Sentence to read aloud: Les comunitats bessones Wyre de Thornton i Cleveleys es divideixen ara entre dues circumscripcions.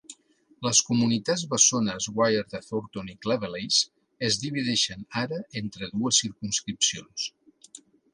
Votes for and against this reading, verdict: 2, 0, accepted